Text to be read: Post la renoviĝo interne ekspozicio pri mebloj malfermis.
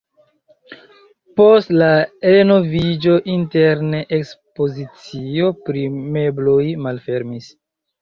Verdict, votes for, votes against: rejected, 1, 2